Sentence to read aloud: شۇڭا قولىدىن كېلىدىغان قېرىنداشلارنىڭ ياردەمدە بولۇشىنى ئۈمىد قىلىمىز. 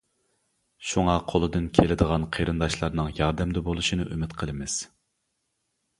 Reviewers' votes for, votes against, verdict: 2, 0, accepted